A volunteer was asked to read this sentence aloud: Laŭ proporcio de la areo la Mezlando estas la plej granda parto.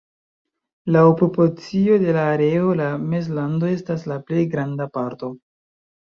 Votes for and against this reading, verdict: 2, 1, accepted